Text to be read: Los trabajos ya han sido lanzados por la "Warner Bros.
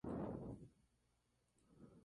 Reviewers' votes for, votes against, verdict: 2, 4, rejected